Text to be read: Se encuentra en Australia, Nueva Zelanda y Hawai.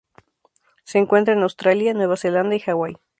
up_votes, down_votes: 2, 0